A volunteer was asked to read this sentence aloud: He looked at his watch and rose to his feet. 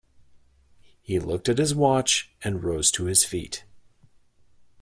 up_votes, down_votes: 2, 0